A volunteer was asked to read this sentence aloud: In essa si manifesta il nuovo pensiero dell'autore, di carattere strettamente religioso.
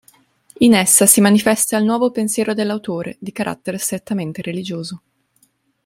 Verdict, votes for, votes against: accepted, 2, 0